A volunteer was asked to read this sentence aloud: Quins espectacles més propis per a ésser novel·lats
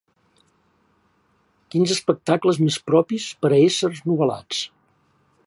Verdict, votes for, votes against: accepted, 3, 0